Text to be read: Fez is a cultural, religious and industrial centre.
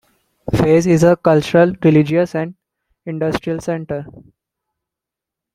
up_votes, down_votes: 2, 1